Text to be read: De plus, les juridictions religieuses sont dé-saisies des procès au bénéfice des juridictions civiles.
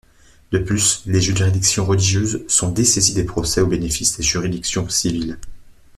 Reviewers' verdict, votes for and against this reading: rejected, 0, 2